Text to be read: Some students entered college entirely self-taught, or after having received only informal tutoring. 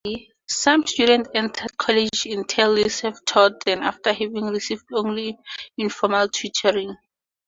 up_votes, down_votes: 2, 4